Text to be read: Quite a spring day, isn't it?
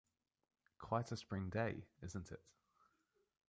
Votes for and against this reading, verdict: 2, 0, accepted